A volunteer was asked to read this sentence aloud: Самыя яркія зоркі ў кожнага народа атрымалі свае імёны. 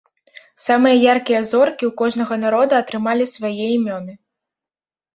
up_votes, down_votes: 2, 0